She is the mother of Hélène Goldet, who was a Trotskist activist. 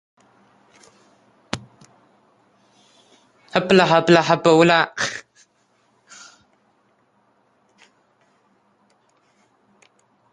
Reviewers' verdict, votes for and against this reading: rejected, 0, 2